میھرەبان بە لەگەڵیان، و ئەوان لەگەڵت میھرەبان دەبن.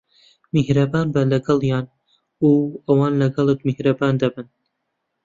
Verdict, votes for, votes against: accepted, 2, 0